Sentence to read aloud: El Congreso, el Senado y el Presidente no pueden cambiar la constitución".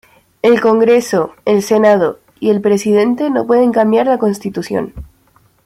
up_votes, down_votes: 2, 0